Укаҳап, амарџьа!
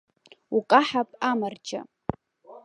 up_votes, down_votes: 2, 0